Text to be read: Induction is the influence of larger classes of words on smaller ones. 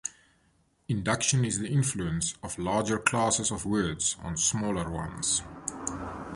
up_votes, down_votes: 2, 0